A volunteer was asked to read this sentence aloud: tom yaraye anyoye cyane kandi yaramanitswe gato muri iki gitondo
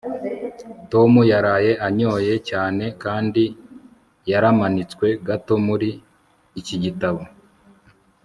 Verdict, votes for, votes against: rejected, 0, 2